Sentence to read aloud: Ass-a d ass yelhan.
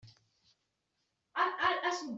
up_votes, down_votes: 1, 2